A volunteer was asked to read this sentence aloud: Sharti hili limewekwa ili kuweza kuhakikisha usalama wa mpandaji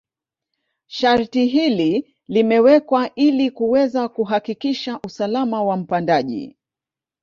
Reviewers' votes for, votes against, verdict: 2, 1, accepted